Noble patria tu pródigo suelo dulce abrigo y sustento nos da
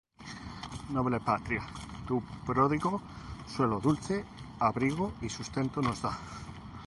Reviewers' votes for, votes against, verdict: 2, 0, accepted